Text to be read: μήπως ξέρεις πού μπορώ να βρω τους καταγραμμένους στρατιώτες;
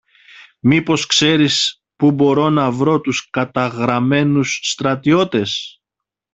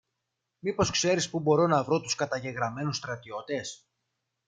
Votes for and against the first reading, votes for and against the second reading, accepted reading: 2, 0, 0, 2, first